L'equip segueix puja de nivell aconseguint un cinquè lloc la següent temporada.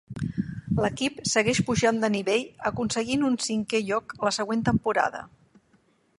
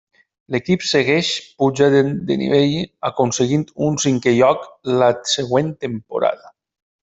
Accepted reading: second